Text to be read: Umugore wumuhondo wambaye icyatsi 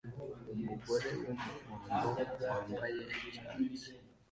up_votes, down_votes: 0, 2